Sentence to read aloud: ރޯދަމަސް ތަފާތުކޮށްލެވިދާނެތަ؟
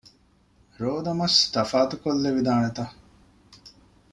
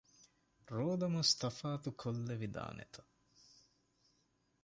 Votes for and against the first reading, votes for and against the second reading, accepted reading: 2, 0, 0, 2, first